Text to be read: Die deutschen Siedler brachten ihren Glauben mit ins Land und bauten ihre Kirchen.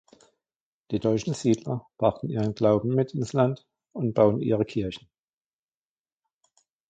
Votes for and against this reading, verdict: 2, 0, accepted